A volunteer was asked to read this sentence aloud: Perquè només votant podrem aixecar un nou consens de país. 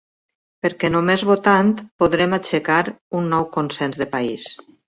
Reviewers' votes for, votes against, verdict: 4, 0, accepted